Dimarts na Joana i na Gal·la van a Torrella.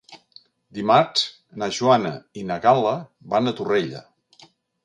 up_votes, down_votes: 2, 0